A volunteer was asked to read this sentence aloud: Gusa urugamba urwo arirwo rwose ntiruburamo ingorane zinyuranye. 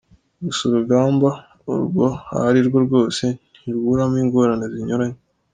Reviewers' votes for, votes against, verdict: 2, 0, accepted